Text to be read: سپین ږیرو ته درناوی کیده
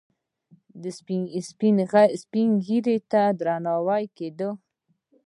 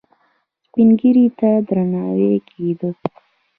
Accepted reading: first